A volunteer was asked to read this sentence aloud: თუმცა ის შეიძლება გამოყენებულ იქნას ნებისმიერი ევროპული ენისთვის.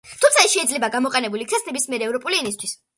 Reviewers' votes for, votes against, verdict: 1, 2, rejected